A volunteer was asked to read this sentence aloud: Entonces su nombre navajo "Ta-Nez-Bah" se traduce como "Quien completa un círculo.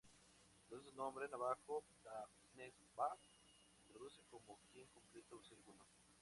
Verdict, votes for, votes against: rejected, 0, 2